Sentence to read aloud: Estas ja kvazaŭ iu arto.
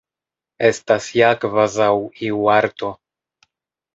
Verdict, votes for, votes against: accepted, 2, 0